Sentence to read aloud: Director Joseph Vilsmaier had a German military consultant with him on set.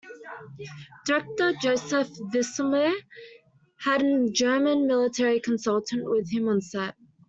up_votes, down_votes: 0, 2